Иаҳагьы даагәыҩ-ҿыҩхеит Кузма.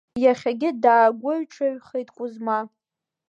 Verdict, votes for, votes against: rejected, 0, 2